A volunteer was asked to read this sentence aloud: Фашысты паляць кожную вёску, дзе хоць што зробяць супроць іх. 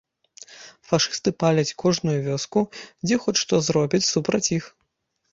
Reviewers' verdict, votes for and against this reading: rejected, 1, 2